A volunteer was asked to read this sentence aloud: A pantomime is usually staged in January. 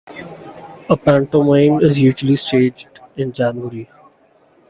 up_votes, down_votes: 2, 1